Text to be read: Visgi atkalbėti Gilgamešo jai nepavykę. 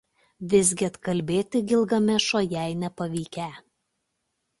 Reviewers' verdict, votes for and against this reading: accepted, 2, 0